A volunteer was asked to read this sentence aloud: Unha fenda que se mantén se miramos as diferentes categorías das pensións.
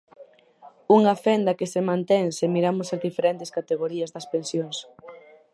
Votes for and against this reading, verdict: 2, 4, rejected